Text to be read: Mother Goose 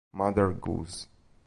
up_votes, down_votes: 2, 0